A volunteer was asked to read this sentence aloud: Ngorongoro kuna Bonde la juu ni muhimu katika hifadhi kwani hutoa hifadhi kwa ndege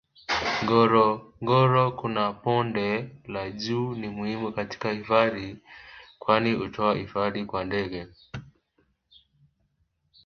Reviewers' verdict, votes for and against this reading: rejected, 1, 2